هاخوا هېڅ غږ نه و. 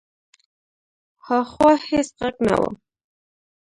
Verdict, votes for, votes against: rejected, 1, 2